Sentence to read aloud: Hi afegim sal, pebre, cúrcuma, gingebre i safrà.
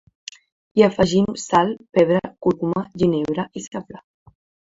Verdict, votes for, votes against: rejected, 0, 2